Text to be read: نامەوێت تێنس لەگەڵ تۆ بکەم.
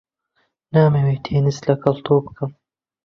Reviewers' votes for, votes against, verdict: 2, 0, accepted